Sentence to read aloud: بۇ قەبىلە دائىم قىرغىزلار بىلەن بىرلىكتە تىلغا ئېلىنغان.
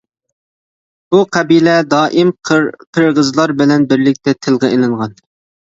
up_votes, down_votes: 1, 2